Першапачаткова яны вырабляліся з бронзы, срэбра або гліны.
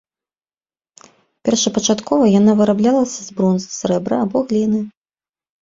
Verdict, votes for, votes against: rejected, 1, 2